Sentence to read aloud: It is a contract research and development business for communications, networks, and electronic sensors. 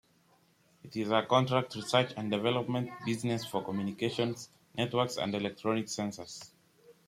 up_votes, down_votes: 2, 0